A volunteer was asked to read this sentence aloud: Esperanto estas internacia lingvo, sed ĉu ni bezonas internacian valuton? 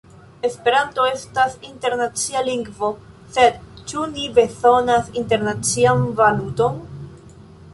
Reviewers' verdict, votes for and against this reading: rejected, 1, 2